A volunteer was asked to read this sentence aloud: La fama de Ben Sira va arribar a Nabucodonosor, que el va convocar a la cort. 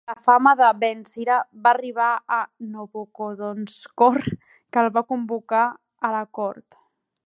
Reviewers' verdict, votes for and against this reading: rejected, 0, 2